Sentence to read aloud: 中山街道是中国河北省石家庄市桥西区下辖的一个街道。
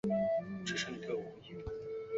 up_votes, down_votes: 4, 3